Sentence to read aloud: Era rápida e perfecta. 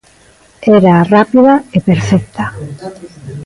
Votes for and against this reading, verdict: 1, 2, rejected